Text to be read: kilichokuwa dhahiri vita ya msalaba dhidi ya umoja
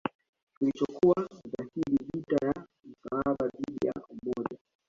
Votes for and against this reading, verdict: 1, 2, rejected